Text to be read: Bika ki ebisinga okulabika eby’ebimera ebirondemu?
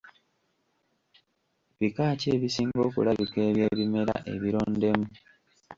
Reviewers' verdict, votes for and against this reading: accepted, 2, 1